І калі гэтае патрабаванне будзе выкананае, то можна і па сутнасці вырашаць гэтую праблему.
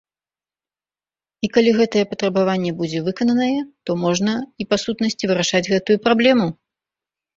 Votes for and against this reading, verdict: 2, 0, accepted